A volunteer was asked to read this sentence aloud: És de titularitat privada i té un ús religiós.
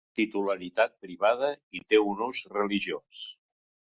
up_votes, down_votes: 0, 2